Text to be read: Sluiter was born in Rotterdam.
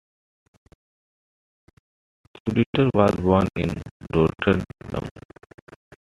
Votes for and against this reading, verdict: 1, 2, rejected